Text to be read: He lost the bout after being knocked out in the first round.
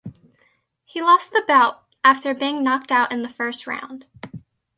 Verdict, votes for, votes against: accepted, 2, 0